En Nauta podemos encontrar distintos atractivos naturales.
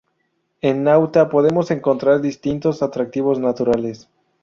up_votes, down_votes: 0, 2